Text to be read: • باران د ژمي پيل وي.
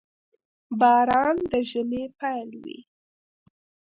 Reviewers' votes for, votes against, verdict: 2, 0, accepted